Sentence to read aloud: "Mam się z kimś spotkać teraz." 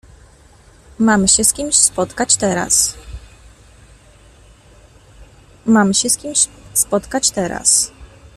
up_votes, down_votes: 0, 2